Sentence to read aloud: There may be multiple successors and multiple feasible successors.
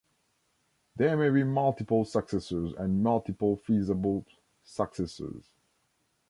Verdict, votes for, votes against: accepted, 2, 0